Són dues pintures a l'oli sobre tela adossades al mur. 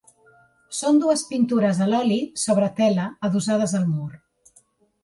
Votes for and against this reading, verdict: 2, 0, accepted